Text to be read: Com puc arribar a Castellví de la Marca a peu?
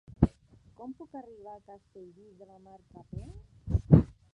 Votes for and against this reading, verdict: 0, 2, rejected